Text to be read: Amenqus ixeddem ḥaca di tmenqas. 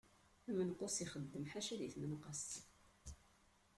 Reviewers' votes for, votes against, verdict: 1, 2, rejected